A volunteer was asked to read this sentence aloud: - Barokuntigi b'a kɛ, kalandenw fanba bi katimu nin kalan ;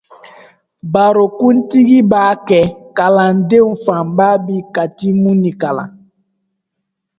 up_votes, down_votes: 1, 2